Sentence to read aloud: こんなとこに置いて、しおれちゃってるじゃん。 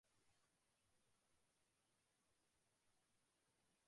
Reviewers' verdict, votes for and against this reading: rejected, 0, 2